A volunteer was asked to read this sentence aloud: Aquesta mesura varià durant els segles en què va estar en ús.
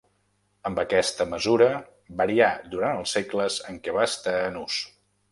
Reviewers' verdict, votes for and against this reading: rejected, 0, 2